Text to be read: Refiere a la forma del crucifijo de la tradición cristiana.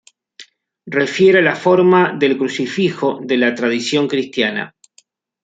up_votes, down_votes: 0, 2